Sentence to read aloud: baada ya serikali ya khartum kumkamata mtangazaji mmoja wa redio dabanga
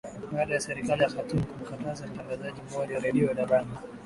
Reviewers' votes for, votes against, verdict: 7, 2, accepted